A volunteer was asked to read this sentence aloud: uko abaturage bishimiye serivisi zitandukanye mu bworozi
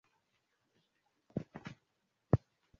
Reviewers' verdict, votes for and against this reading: rejected, 0, 2